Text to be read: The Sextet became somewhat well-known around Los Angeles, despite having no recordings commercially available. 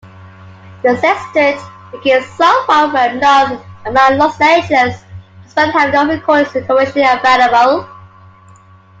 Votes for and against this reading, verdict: 2, 0, accepted